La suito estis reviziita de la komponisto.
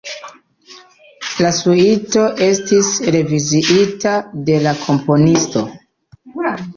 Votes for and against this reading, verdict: 2, 1, accepted